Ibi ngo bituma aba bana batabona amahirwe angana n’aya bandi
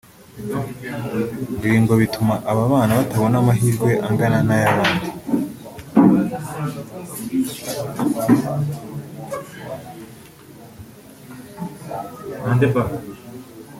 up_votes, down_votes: 0, 2